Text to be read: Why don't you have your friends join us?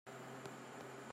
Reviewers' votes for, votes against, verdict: 0, 2, rejected